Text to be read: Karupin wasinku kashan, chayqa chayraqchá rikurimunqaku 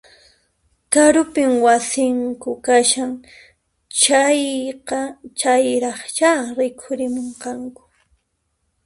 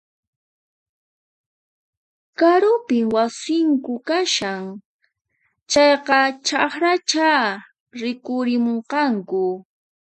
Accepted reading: first